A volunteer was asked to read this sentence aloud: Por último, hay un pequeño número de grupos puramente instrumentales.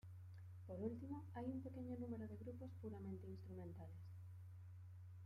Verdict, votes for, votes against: accepted, 2, 1